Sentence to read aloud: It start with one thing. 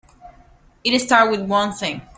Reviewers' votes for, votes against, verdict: 0, 2, rejected